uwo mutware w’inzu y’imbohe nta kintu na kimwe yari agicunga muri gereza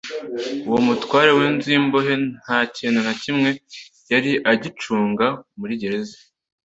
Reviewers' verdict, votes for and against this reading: accepted, 2, 0